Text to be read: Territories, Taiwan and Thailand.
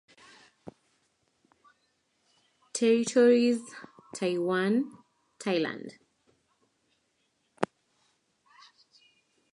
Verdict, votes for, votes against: rejected, 0, 4